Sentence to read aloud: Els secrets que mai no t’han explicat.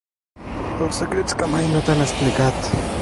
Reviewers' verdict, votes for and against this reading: rejected, 0, 2